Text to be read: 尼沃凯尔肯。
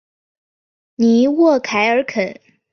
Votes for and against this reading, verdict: 3, 1, accepted